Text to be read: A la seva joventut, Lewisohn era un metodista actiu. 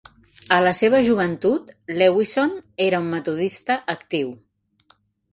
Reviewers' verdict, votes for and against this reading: accepted, 2, 0